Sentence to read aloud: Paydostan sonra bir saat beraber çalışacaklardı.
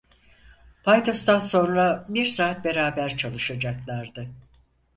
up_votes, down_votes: 4, 0